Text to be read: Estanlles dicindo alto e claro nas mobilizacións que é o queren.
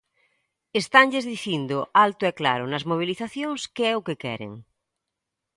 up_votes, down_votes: 2, 0